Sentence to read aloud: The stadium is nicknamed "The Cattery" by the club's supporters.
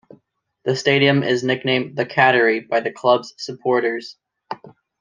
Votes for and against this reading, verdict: 2, 0, accepted